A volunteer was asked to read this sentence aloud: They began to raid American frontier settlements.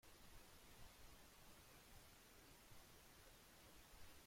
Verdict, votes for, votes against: rejected, 0, 2